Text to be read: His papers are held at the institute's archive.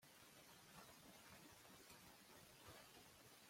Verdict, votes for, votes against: rejected, 0, 2